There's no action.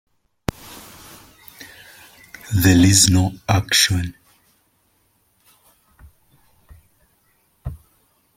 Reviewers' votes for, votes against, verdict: 0, 2, rejected